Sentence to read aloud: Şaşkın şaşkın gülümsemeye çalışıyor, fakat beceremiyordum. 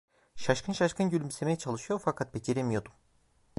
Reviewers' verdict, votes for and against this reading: rejected, 0, 2